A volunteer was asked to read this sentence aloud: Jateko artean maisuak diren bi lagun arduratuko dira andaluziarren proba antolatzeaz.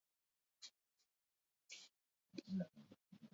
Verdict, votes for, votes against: rejected, 2, 4